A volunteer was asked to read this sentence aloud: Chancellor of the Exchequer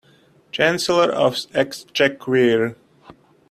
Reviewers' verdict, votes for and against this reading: rejected, 1, 2